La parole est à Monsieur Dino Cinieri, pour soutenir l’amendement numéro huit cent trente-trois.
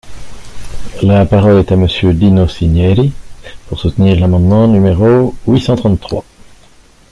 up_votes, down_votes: 2, 0